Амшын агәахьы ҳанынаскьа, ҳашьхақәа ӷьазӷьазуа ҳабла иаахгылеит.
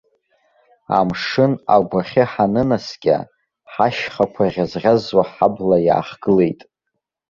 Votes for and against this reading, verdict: 2, 1, accepted